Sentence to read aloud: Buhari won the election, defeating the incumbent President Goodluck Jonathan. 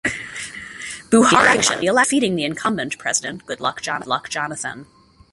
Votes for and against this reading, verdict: 0, 2, rejected